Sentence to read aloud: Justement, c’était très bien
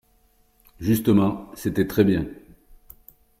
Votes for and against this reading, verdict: 4, 1, accepted